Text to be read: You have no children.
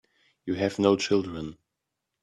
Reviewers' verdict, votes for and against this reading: accepted, 2, 0